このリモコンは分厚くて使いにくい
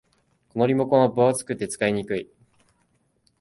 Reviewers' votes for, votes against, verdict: 8, 1, accepted